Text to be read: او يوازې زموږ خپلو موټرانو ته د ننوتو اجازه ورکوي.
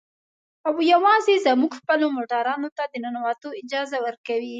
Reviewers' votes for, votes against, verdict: 3, 0, accepted